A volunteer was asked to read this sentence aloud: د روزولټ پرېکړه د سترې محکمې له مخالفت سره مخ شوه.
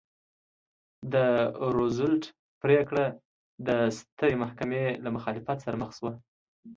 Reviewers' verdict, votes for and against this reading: accepted, 2, 1